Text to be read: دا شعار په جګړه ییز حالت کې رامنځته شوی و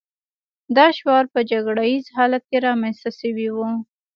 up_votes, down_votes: 1, 2